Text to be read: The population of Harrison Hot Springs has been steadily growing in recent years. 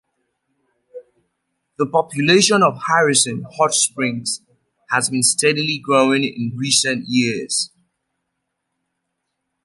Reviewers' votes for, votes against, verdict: 2, 0, accepted